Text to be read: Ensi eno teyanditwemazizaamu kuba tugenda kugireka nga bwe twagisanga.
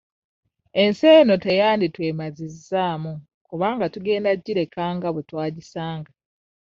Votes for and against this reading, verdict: 1, 2, rejected